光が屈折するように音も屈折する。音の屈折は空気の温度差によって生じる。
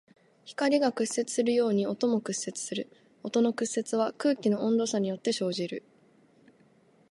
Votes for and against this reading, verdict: 2, 0, accepted